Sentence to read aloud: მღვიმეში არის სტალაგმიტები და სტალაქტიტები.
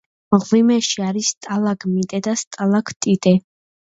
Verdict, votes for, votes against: rejected, 0, 2